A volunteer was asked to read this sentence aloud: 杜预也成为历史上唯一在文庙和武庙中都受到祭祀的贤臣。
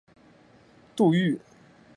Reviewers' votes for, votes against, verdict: 2, 8, rejected